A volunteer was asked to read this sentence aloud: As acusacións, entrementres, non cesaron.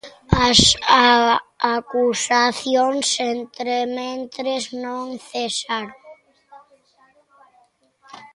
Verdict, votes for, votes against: rejected, 1, 3